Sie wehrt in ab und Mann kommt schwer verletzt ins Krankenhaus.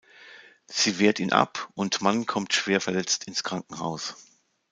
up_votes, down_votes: 2, 0